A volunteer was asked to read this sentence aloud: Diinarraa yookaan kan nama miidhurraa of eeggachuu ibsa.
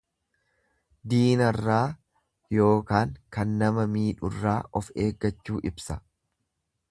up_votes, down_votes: 2, 0